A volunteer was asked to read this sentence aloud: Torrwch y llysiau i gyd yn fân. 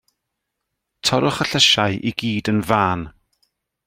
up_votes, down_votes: 2, 0